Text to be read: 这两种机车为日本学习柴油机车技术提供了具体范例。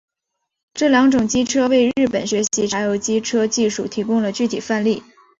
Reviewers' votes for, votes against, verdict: 2, 0, accepted